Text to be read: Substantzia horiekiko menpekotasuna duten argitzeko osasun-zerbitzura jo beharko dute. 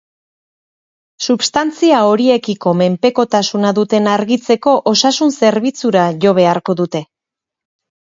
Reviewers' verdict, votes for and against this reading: accepted, 8, 0